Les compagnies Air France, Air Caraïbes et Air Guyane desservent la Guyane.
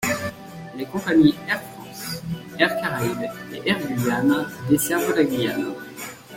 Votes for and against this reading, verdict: 1, 2, rejected